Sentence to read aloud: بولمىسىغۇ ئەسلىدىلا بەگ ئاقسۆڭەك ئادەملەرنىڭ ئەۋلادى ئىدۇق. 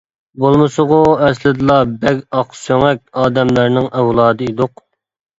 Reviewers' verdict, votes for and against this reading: accepted, 2, 0